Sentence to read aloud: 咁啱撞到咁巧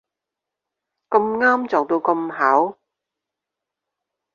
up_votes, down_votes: 0, 2